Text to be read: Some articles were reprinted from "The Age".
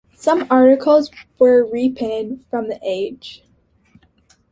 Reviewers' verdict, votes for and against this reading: accepted, 2, 1